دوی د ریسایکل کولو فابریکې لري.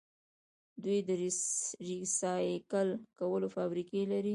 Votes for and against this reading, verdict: 2, 1, accepted